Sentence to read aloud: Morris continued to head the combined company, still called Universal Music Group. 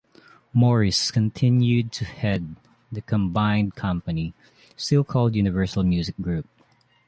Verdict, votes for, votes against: accepted, 2, 0